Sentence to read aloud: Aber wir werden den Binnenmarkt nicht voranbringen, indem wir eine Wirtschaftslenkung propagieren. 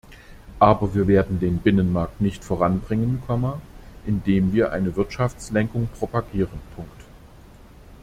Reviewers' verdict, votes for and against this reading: rejected, 0, 2